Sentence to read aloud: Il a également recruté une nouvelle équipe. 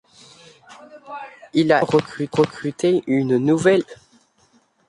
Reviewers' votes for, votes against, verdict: 0, 2, rejected